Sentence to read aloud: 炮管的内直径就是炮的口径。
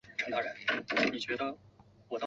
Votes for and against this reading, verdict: 2, 6, rejected